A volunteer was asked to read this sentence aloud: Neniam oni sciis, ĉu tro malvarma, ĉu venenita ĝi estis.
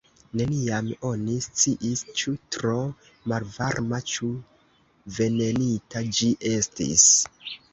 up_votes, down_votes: 2, 0